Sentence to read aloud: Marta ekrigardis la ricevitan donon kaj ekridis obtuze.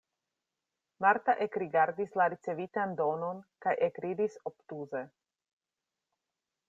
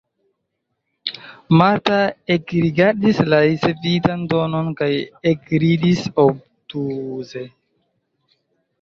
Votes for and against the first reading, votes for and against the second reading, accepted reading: 2, 0, 0, 2, first